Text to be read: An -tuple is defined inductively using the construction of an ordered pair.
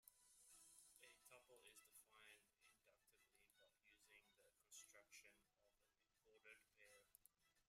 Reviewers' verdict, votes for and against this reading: rejected, 0, 3